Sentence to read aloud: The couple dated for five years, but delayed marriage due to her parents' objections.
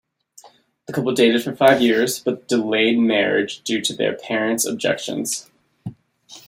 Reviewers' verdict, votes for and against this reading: rejected, 1, 2